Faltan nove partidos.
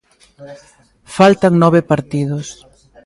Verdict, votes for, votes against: accepted, 2, 0